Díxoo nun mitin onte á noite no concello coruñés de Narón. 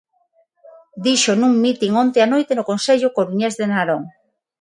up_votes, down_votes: 3, 3